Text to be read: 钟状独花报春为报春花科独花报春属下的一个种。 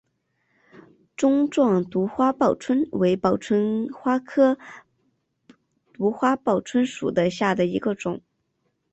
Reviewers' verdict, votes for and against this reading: rejected, 0, 3